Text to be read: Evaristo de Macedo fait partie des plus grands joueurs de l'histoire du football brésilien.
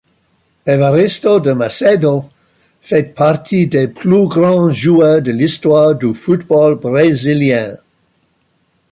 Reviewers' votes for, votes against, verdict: 2, 0, accepted